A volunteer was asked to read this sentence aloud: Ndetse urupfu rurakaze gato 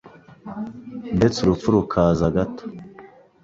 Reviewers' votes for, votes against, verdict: 1, 2, rejected